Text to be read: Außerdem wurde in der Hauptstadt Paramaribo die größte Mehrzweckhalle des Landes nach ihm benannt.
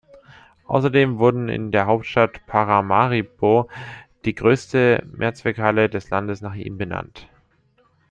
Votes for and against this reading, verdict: 1, 2, rejected